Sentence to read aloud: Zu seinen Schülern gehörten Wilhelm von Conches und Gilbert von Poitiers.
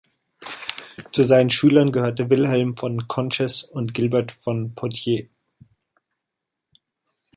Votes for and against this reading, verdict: 2, 0, accepted